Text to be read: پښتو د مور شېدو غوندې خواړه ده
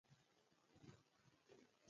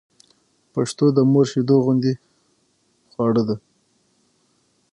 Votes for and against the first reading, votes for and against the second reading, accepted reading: 0, 2, 6, 3, second